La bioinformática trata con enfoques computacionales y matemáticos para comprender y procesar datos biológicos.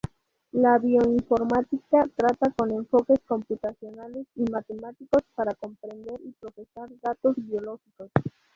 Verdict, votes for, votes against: rejected, 2, 2